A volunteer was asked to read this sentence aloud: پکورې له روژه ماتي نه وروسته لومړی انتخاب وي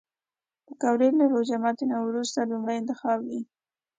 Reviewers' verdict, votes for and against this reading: accepted, 2, 0